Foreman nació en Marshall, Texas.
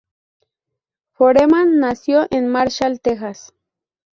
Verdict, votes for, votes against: rejected, 2, 2